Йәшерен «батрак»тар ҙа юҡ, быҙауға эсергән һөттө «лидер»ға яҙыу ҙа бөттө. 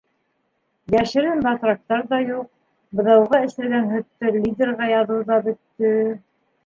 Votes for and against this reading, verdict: 1, 2, rejected